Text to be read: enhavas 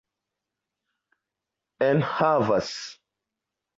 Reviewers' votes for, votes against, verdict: 2, 0, accepted